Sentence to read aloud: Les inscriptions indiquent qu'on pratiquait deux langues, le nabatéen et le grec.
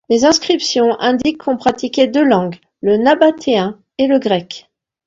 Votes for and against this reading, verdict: 2, 0, accepted